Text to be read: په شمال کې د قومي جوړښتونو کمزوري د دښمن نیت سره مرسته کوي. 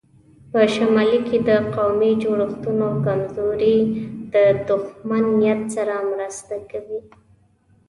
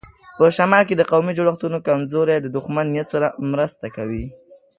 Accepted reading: second